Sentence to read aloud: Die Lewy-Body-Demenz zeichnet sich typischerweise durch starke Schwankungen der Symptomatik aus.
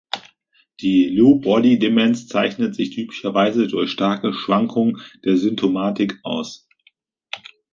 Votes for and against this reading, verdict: 1, 2, rejected